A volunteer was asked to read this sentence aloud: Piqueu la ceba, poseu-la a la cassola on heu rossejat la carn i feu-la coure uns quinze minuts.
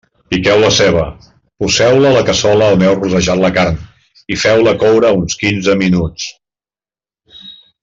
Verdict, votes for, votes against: rejected, 1, 2